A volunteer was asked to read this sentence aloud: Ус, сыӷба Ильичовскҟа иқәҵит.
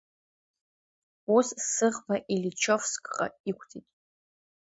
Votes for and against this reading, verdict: 2, 0, accepted